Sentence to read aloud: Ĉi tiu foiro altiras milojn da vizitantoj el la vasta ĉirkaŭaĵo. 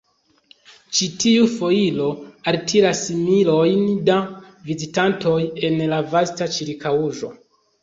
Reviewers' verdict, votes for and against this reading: rejected, 1, 2